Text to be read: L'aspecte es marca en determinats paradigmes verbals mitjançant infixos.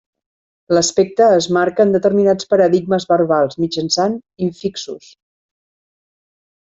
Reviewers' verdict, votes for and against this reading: accepted, 3, 0